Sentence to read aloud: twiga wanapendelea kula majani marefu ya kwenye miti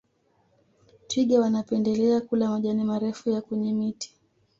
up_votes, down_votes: 2, 0